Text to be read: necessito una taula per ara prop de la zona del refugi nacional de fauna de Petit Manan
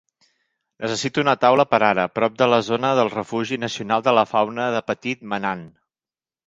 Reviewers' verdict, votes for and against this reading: rejected, 1, 2